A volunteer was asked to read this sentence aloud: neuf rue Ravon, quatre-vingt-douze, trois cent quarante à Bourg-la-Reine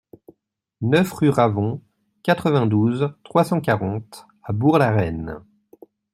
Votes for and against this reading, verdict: 2, 0, accepted